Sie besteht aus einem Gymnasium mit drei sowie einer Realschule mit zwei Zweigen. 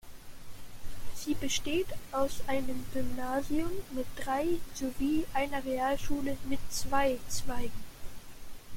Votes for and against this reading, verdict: 0, 2, rejected